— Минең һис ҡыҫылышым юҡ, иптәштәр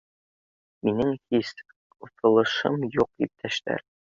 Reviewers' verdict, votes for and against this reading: accepted, 2, 0